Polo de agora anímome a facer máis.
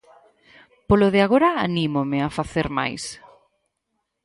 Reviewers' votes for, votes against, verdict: 2, 2, rejected